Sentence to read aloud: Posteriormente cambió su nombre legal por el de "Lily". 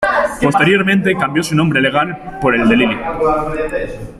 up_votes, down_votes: 0, 2